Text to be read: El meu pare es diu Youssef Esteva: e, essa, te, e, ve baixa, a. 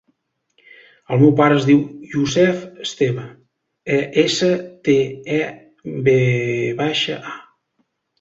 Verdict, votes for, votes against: rejected, 0, 2